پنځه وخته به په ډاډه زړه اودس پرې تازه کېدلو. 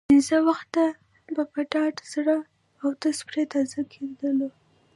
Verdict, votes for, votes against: accepted, 2, 0